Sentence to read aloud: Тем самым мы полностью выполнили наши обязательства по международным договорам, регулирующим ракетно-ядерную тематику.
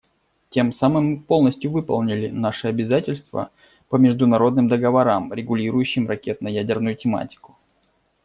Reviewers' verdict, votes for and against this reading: accepted, 2, 0